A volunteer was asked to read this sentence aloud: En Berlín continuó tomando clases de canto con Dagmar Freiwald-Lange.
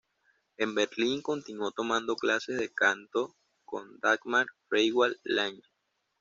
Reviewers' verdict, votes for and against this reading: accepted, 2, 0